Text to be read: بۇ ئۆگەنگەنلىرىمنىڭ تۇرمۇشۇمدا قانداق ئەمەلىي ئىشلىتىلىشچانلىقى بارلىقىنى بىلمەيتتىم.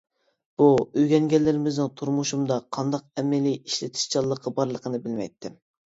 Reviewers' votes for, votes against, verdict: 0, 2, rejected